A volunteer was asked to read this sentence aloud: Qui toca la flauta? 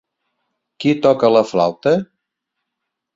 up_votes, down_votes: 3, 0